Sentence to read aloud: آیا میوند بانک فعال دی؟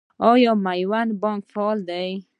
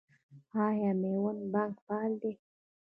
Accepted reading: first